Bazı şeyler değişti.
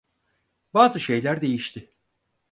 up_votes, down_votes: 4, 0